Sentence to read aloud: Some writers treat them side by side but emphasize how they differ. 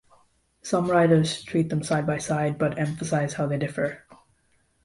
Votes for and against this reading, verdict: 2, 0, accepted